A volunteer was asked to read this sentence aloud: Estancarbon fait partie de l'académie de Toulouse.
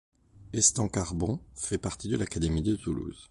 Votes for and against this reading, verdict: 2, 0, accepted